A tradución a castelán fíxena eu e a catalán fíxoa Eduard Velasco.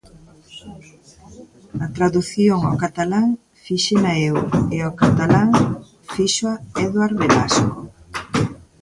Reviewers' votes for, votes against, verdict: 0, 3, rejected